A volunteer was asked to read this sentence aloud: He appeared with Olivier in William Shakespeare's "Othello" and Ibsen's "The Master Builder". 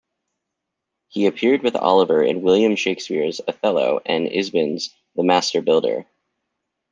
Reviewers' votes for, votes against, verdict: 0, 2, rejected